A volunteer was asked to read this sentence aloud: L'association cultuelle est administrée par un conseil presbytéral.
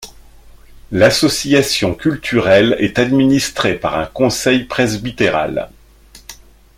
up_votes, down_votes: 1, 2